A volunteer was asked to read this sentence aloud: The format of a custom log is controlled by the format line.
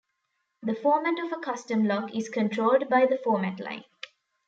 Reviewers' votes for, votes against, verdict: 2, 0, accepted